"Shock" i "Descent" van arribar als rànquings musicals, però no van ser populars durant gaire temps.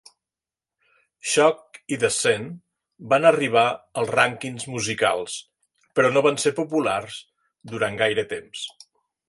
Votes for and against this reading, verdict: 3, 0, accepted